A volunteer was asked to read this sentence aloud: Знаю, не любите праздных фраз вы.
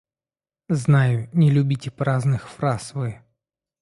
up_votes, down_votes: 2, 0